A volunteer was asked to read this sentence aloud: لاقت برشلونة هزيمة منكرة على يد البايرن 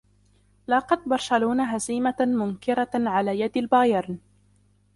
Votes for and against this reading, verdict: 0, 2, rejected